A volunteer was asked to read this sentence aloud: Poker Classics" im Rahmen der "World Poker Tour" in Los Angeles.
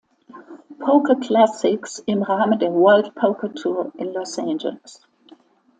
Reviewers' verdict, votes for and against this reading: accepted, 2, 0